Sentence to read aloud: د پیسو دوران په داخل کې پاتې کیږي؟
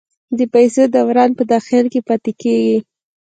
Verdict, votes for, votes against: accepted, 2, 0